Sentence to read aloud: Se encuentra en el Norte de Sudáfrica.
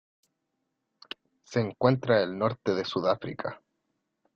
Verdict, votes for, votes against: rejected, 0, 2